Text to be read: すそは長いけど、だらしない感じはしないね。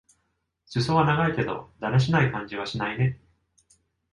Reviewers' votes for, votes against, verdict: 2, 0, accepted